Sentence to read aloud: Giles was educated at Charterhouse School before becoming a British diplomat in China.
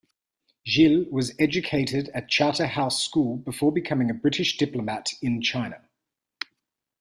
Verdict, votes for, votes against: rejected, 0, 2